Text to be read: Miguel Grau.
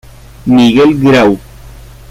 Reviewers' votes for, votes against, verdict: 2, 0, accepted